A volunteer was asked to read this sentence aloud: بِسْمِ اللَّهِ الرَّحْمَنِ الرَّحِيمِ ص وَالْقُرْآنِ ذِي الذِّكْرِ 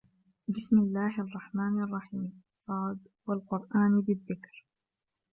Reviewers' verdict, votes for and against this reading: accepted, 3, 1